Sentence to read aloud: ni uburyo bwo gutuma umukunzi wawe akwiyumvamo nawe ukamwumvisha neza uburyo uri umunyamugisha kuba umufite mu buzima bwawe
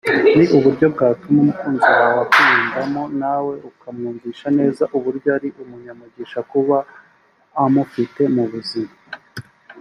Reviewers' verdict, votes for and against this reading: rejected, 1, 3